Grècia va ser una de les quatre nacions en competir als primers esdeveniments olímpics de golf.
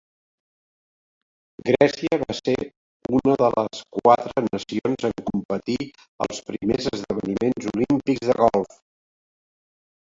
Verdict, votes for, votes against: rejected, 0, 2